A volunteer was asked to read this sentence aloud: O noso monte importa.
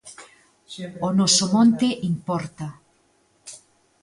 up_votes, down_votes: 2, 0